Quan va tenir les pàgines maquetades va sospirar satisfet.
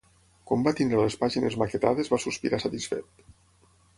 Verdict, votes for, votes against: accepted, 6, 3